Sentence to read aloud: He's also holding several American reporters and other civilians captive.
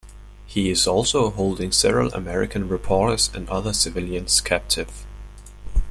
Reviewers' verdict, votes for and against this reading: rejected, 0, 2